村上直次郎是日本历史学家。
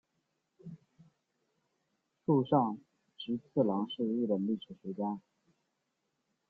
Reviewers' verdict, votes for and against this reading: rejected, 0, 2